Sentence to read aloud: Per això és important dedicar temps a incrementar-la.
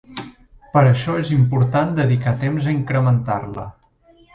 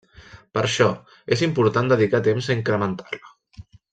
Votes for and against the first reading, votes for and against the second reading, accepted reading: 2, 0, 0, 2, first